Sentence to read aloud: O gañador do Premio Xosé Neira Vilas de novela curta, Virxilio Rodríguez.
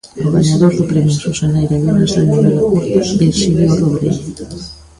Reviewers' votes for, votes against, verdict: 0, 2, rejected